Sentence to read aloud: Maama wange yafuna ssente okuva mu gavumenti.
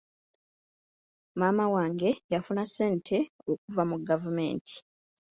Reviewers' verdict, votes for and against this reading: accepted, 2, 0